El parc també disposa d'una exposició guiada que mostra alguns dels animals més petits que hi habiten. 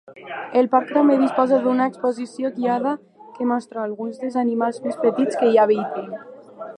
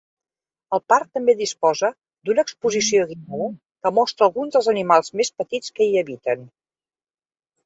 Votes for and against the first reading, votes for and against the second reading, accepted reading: 2, 1, 0, 2, first